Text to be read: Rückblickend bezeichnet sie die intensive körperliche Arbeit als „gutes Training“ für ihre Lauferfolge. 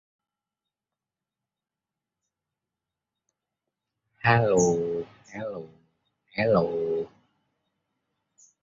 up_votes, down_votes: 0, 3